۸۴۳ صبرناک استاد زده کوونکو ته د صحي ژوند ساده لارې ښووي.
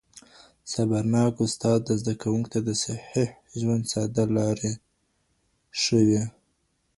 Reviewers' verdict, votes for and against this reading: rejected, 0, 2